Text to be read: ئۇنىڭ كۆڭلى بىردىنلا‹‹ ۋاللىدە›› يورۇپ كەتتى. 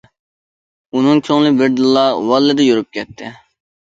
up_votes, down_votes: 1, 2